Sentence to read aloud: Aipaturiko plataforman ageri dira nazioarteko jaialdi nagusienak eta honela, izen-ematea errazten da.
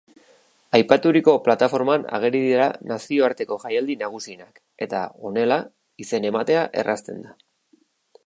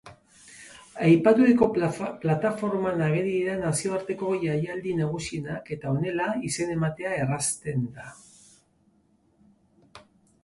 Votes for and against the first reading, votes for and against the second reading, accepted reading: 4, 0, 1, 2, first